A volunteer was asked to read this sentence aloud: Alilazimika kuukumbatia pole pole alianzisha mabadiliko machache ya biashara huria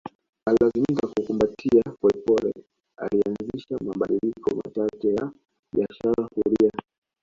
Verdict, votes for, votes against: rejected, 0, 2